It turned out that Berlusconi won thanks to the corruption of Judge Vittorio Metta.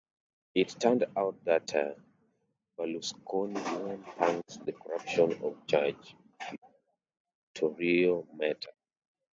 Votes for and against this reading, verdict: 0, 2, rejected